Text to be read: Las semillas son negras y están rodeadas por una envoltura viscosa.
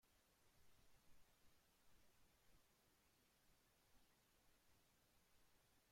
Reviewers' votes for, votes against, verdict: 0, 2, rejected